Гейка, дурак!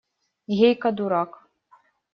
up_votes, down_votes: 2, 0